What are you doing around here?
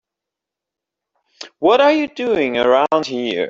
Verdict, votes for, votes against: accepted, 3, 1